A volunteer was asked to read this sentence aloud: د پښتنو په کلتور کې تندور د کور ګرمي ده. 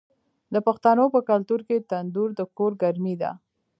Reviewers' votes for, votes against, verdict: 1, 2, rejected